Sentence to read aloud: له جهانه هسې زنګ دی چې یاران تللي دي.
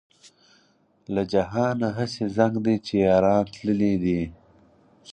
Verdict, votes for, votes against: accepted, 4, 0